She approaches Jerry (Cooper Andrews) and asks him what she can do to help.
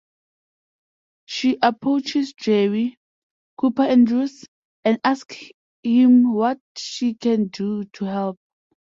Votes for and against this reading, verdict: 0, 2, rejected